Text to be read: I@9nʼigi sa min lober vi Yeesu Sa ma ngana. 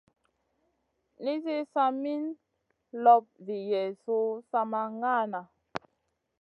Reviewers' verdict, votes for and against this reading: rejected, 0, 2